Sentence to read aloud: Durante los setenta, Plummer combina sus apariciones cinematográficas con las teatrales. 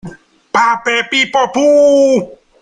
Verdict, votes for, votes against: rejected, 0, 2